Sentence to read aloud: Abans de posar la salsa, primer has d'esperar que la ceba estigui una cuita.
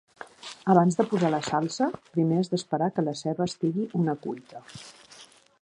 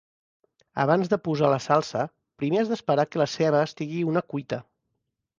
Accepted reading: second